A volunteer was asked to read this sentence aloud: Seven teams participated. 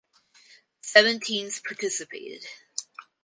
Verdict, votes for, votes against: accepted, 4, 0